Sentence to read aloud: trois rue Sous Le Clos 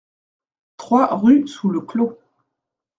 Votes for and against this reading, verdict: 2, 0, accepted